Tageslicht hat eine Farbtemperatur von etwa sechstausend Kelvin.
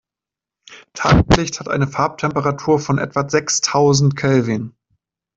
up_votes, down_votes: 0, 2